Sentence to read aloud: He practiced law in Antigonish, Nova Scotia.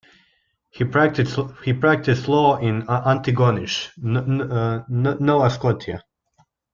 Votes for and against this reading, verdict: 1, 2, rejected